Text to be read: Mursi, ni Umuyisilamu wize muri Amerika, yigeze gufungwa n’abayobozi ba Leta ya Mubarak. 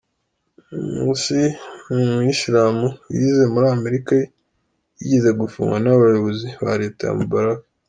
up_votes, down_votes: 2, 0